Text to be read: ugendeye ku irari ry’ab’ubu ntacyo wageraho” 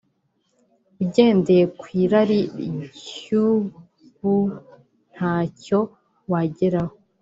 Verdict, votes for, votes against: rejected, 1, 2